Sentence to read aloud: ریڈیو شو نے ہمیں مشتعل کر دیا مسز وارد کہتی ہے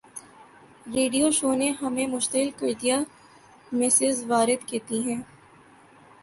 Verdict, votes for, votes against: accepted, 2, 0